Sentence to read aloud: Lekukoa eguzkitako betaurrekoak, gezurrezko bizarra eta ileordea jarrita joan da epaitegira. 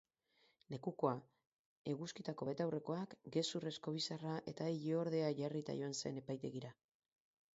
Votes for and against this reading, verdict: 0, 4, rejected